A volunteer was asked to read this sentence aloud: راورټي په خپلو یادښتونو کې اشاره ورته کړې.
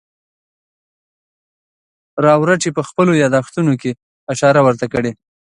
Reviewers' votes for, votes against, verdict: 2, 0, accepted